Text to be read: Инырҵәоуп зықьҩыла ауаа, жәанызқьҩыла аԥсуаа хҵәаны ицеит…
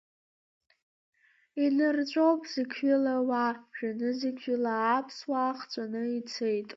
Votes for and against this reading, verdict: 2, 1, accepted